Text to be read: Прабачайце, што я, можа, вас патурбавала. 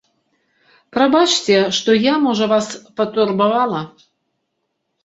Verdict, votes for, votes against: rejected, 1, 2